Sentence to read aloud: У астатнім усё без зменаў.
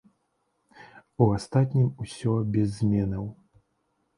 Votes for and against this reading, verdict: 0, 2, rejected